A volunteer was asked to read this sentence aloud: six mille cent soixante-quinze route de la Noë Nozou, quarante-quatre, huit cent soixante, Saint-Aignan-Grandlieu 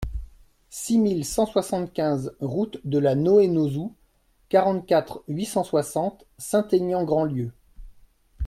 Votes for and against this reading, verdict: 2, 0, accepted